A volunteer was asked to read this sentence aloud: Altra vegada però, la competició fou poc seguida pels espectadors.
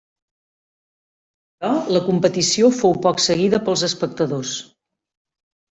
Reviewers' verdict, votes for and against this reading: rejected, 1, 2